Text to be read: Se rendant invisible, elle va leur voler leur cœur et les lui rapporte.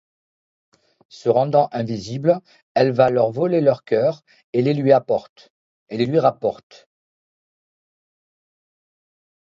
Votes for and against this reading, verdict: 1, 2, rejected